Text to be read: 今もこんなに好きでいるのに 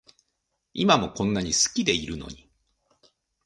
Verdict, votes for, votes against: accepted, 2, 0